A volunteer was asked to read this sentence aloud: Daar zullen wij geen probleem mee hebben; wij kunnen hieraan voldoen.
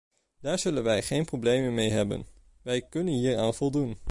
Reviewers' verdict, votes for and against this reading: rejected, 1, 2